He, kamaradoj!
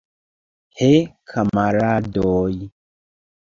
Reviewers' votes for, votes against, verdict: 2, 1, accepted